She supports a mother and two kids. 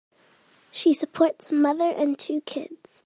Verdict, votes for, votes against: accepted, 2, 0